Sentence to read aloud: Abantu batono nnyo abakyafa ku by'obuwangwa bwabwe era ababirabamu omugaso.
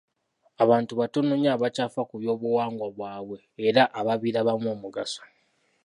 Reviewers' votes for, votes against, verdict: 2, 0, accepted